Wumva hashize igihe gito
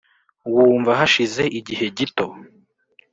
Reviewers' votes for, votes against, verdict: 2, 0, accepted